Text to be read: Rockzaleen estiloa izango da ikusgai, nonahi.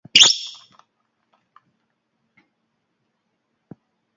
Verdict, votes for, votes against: rejected, 0, 4